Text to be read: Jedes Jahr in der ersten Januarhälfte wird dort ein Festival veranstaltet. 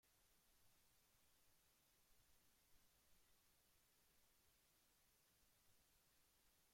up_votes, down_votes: 0, 2